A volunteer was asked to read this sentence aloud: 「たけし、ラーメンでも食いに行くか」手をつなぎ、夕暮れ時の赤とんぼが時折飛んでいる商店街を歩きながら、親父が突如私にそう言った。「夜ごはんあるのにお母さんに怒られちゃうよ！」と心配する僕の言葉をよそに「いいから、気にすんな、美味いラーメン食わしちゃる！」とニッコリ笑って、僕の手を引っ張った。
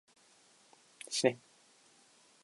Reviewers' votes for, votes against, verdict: 1, 2, rejected